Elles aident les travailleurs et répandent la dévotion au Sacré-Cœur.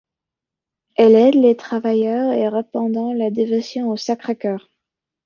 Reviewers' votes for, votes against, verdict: 1, 2, rejected